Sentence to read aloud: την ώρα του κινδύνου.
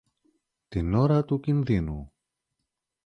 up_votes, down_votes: 2, 0